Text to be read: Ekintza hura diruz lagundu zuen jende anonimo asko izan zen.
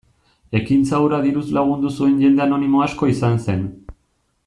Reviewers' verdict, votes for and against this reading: accepted, 2, 0